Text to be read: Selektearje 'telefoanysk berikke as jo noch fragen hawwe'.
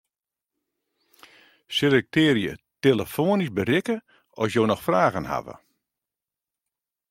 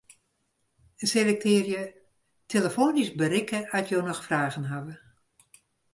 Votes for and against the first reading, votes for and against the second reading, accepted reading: 2, 0, 0, 2, first